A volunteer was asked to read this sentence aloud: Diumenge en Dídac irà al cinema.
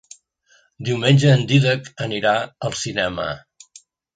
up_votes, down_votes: 0, 2